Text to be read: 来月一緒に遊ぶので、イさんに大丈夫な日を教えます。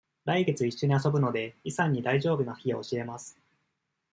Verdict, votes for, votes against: accepted, 2, 0